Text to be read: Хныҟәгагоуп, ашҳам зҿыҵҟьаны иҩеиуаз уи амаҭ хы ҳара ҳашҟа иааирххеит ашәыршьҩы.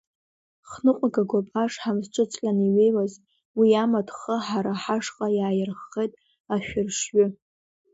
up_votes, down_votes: 2, 1